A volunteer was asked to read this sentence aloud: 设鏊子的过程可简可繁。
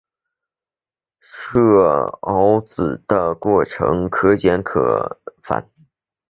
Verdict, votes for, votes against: accepted, 6, 1